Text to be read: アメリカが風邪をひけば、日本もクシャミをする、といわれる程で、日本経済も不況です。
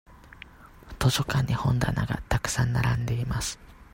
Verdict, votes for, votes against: rejected, 0, 2